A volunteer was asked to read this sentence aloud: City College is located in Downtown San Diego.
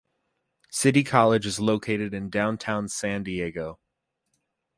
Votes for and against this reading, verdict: 2, 0, accepted